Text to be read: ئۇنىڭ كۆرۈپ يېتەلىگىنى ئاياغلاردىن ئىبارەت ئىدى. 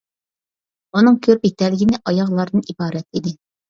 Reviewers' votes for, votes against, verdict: 2, 0, accepted